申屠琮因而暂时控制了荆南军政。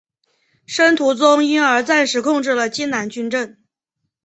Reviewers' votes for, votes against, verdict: 5, 0, accepted